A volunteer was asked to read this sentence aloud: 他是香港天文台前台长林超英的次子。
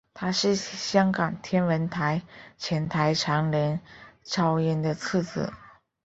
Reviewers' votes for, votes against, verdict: 3, 2, accepted